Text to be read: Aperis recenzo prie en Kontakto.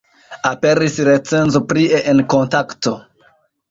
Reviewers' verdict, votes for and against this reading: accepted, 2, 1